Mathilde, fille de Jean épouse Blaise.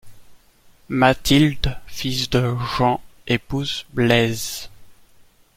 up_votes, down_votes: 1, 2